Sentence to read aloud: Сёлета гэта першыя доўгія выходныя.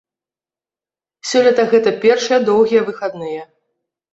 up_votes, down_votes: 0, 2